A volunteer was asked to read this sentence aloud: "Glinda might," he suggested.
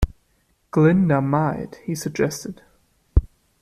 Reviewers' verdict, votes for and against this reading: accepted, 2, 0